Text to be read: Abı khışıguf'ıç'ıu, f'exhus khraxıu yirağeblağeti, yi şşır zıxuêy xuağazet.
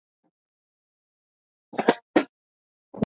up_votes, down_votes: 0, 2